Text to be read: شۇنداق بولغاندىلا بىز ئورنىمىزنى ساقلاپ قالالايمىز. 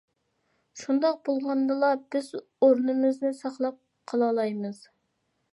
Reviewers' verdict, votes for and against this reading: accepted, 2, 0